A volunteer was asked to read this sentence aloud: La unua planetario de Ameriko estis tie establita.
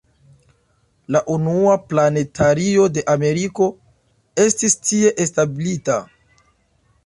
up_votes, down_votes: 2, 0